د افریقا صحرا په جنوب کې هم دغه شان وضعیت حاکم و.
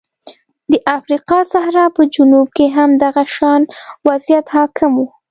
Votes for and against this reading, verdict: 2, 0, accepted